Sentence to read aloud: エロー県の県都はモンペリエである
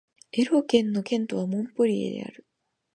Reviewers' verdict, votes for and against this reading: rejected, 2, 2